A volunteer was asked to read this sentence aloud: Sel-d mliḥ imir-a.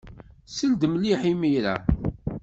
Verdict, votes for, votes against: accepted, 2, 0